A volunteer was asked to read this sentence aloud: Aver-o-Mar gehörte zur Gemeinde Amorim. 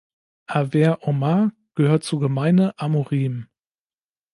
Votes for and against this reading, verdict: 1, 2, rejected